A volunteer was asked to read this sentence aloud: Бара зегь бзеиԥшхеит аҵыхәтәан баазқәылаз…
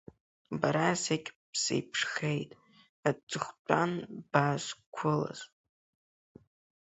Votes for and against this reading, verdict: 1, 2, rejected